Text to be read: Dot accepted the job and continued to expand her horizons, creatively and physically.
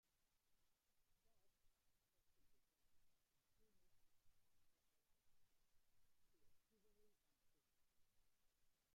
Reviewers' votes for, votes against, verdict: 0, 2, rejected